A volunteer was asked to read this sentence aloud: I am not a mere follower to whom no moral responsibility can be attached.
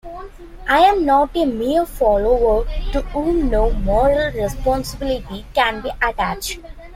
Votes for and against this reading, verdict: 2, 1, accepted